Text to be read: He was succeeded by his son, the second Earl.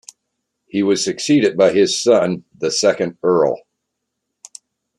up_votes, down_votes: 2, 0